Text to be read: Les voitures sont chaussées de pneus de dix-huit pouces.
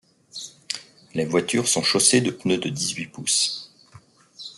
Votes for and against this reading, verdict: 2, 0, accepted